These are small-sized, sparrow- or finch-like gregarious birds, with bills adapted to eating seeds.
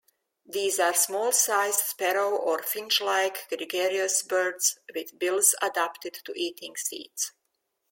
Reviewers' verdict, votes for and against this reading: accepted, 2, 0